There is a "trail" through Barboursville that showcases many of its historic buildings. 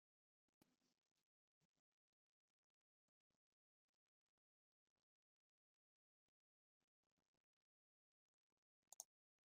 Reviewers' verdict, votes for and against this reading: rejected, 0, 2